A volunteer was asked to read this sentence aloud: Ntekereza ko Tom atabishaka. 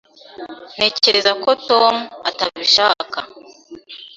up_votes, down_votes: 2, 0